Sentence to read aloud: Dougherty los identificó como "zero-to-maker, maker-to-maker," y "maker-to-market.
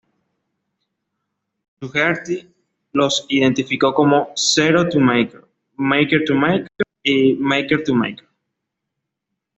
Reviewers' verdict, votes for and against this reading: accepted, 2, 0